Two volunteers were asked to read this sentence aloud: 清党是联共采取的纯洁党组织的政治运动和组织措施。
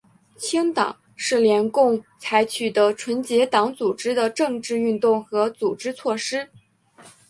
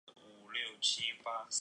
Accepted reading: first